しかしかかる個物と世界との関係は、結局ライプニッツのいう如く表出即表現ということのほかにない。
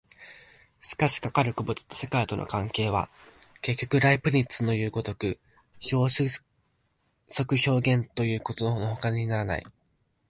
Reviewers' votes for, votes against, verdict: 0, 2, rejected